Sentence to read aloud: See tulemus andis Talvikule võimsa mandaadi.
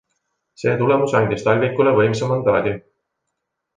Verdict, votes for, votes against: accepted, 3, 0